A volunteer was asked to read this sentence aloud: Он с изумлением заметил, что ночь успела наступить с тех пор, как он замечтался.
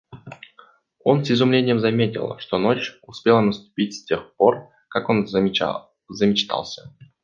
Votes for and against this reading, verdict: 1, 2, rejected